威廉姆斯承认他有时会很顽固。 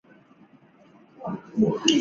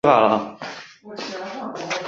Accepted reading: first